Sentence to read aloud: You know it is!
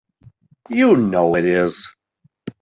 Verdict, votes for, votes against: accepted, 2, 0